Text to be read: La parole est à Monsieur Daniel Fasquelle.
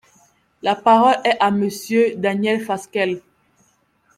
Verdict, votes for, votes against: accepted, 2, 0